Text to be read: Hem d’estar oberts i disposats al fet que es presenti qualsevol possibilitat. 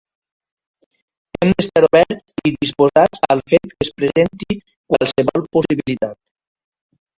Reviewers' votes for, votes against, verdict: 2, 3, rejected